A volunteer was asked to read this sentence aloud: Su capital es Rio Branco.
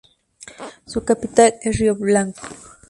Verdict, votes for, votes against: accepted, 2, 0